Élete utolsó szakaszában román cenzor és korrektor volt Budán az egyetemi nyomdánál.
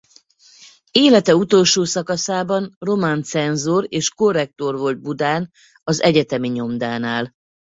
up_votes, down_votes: 4, 0